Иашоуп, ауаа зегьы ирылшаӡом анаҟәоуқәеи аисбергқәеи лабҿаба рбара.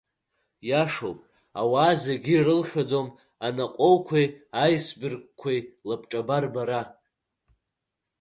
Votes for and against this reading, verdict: 2, 0, accepted